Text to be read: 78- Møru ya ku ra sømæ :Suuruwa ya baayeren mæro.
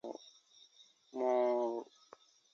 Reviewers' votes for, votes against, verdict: 0, 2, rejected